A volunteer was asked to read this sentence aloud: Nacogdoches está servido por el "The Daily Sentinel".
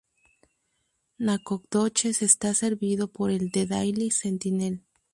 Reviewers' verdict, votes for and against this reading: rejected, 0, 2